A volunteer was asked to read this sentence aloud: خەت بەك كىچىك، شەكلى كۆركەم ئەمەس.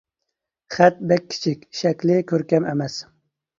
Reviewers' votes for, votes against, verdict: 2, 0, accepted